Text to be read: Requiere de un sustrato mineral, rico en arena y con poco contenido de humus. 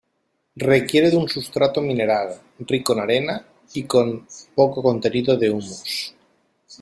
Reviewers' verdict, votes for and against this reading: accepted, 2, 1